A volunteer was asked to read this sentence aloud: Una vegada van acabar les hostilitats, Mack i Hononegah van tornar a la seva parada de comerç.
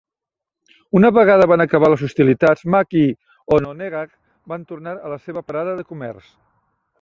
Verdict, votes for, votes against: accepted, 2, 0